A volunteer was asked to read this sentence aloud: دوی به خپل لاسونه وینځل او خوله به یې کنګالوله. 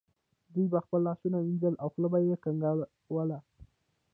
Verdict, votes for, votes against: rejected, 1, 2